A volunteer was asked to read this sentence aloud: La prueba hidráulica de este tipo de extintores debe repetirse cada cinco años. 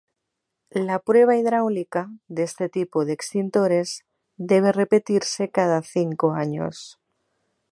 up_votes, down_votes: 4, 0